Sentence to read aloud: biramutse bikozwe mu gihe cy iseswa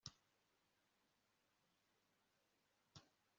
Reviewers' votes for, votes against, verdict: 1, 2, rejected